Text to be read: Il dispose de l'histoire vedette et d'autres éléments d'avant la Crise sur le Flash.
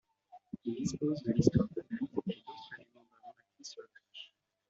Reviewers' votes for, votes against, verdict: 0, 2, rejected